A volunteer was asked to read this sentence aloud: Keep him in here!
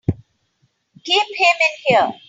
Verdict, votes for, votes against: accepted, 2, 0